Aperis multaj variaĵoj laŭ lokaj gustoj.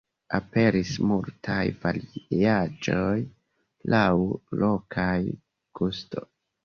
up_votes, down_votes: 0, 2